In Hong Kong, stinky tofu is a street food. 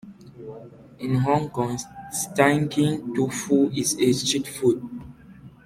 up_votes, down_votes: 0, 2